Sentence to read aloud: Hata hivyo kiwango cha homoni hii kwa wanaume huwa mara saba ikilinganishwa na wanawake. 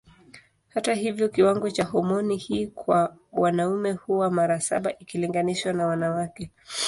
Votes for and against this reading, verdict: 2, 0, accepted